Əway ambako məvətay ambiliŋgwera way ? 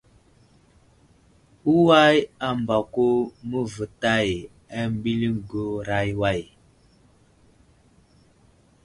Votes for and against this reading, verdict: 1, 2, rejected